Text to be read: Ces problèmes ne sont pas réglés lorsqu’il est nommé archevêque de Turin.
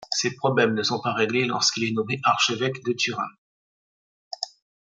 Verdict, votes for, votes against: accepted, 2, 0